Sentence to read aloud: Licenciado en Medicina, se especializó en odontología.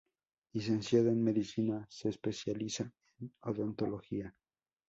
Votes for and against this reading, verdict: 0, 4, rejected